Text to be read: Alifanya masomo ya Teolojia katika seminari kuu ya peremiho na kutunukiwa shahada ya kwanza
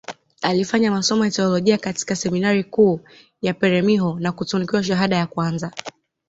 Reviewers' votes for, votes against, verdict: 2, 0, accepted